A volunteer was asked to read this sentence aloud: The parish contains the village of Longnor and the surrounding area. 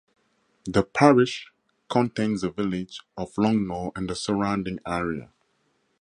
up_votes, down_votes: 2, 2